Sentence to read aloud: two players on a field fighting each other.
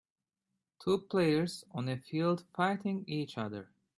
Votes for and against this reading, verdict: 2, 1, accepted